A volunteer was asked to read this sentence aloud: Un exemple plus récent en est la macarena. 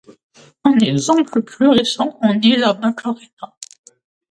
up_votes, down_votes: 2, 0